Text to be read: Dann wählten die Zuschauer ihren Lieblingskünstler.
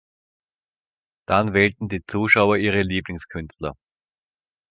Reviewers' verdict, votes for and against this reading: rejected, 0, 3